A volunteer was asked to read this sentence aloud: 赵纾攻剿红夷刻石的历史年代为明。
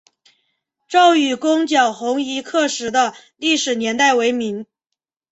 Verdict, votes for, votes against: accepted, 2, 1